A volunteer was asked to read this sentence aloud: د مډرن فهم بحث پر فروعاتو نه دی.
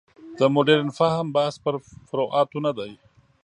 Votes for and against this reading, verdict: 2, 0, accepted